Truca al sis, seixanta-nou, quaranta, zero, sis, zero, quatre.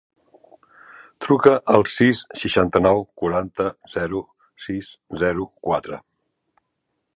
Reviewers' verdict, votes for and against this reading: accepted, 2, 0